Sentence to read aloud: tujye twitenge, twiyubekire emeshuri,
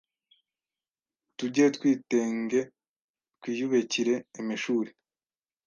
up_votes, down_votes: 1, 2